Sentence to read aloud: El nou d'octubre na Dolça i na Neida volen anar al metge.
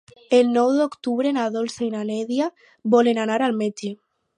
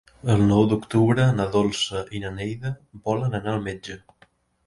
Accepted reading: second